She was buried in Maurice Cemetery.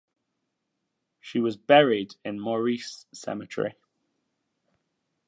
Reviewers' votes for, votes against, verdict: 2, 0, accepted